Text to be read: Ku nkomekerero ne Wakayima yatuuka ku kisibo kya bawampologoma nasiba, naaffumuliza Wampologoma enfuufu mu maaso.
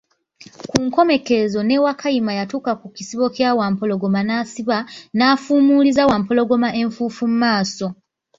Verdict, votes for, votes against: rejected, 0, 2